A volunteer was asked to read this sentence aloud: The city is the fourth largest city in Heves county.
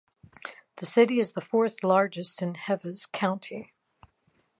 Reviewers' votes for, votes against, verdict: 0, 2, rejected